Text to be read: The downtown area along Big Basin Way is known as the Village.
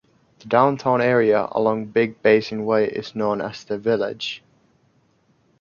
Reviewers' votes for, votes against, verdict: 2, 0, accepted